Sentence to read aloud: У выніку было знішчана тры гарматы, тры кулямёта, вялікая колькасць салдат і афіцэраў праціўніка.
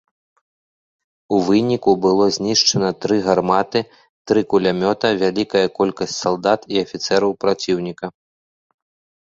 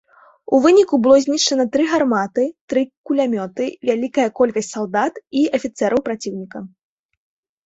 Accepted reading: first